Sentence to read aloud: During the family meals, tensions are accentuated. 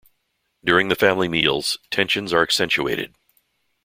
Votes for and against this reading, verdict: 2, 0, accepted